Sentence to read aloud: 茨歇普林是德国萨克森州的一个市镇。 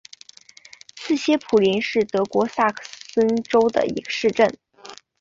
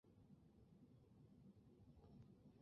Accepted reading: first